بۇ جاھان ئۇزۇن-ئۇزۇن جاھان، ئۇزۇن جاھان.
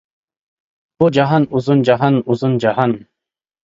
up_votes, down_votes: 0, 2